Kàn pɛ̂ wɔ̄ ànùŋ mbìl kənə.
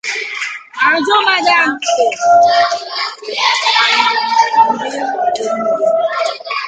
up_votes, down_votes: 0, 2